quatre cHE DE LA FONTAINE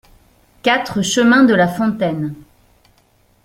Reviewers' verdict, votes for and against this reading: rejected, 1, 2